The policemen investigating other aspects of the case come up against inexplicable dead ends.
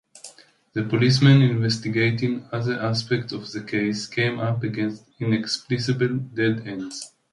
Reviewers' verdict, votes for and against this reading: rejected, 0, 2